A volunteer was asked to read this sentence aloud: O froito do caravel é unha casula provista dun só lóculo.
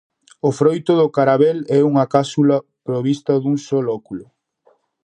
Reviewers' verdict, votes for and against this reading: rejected, 0, 4